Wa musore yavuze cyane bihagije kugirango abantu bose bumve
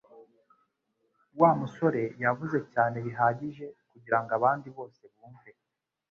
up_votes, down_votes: 1, 2